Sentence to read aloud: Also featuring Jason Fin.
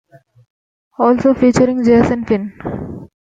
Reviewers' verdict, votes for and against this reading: rejected, 1, 2